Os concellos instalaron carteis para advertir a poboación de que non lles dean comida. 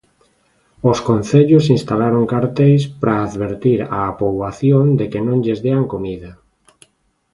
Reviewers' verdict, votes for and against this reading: accepted, 2, 0